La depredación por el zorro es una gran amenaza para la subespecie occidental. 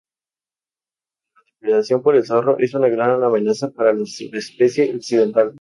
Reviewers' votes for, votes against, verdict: 0, 2, rejected